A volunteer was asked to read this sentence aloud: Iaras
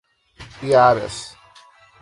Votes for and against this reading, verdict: 4, 0, accepted